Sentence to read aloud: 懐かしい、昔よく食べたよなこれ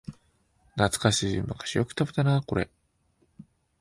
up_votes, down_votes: 1, 2